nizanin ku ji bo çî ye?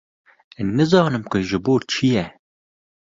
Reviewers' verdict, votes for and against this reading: rejected, 1, 2